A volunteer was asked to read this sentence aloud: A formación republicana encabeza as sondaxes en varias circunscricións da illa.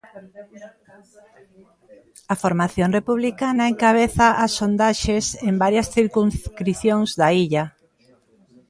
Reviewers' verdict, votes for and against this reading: rejected, 0, 3